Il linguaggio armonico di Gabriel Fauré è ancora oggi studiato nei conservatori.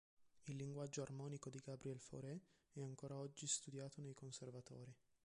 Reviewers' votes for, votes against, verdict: 1, 2, rejected